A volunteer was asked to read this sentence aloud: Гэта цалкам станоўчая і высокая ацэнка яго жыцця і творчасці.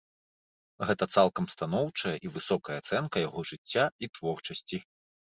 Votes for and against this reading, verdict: 2, 0, accepted